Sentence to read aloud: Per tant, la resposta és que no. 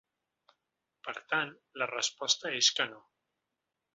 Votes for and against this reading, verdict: 3, 0, accepted